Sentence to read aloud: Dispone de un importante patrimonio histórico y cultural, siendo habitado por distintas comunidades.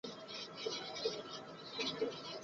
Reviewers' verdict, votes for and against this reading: rejected, 0, 4